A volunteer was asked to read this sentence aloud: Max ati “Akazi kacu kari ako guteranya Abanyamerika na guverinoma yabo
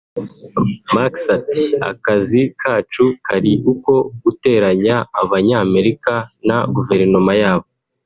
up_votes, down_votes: 0, 2